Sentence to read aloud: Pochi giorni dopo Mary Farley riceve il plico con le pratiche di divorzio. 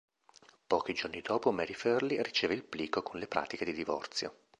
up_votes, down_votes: 2, 1